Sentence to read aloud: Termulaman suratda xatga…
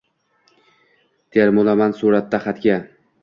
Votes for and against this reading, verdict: 2, 1, accepted